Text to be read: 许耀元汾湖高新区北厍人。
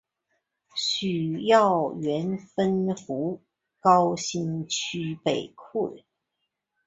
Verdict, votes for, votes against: accepted, 3, 1